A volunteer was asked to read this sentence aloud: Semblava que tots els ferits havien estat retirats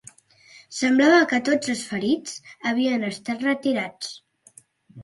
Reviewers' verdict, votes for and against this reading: accepted, 4, 0